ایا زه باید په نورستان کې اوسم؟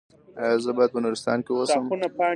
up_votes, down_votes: 2, 0